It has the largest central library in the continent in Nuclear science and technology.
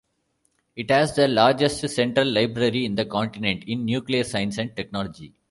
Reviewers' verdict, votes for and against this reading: accepted, 2, 0